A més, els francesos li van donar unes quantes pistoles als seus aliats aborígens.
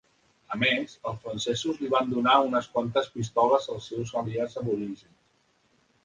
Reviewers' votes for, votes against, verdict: 2, 1, accepted